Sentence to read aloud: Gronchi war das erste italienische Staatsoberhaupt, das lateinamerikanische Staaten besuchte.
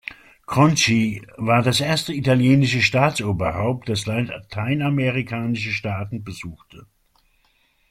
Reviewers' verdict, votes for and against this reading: rejected, 0, 2